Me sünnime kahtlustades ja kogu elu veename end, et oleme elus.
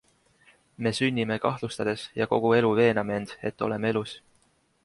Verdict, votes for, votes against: accepted, 2, 1